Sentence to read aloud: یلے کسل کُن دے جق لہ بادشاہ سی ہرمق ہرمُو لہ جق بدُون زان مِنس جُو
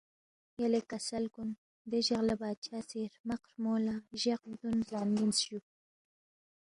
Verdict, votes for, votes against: accepted, 2, 0